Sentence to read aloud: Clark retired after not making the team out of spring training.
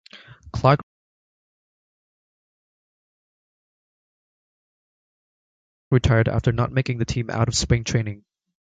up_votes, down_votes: 0, 2